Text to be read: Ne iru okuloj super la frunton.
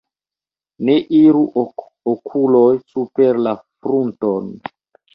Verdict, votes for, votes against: accepted, 2, 1